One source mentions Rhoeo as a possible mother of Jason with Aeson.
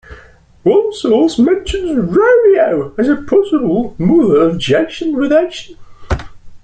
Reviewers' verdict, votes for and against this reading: rejected, 1, 2